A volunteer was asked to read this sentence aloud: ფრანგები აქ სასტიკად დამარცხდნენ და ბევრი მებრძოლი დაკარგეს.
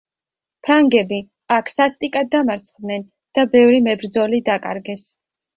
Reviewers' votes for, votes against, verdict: 2, 0, accepted